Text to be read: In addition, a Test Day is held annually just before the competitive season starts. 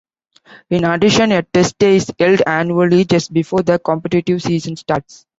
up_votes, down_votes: 3, 1